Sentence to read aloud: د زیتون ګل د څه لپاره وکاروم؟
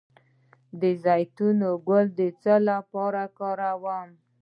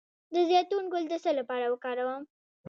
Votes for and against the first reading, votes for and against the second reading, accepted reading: 2, 0, 1, 2, first